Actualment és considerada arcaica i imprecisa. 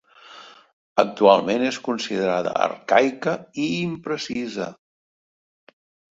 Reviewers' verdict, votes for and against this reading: accepted, 2, 0